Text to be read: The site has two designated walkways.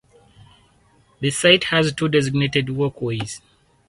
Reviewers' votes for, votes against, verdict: 4, 2, accepted